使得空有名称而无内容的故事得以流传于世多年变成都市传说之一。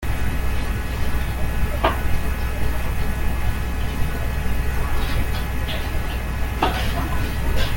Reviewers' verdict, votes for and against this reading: rejected, 0, 2